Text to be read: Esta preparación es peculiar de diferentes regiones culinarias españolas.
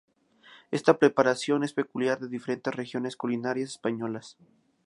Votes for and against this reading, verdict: 2, 0, accepted